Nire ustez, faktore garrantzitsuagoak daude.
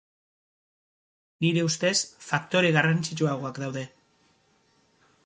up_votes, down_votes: 2, 2